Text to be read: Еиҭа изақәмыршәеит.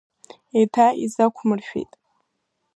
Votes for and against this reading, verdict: 1, 2, rejected